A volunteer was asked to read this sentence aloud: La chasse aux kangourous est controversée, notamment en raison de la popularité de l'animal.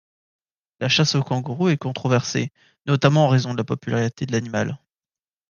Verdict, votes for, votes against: accepted, 2, 0